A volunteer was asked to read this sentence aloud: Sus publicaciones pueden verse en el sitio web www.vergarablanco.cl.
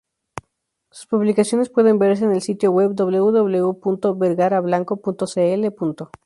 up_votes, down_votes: 4, 0